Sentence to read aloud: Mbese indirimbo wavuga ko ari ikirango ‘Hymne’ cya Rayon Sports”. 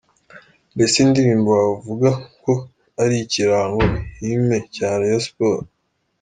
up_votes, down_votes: 2, 0